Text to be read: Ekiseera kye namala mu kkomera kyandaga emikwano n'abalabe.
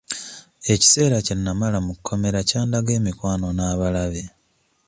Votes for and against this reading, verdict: 1, 2, rejected